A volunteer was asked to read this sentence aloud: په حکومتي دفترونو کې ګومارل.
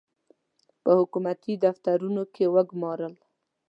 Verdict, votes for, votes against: rejected, 1, 2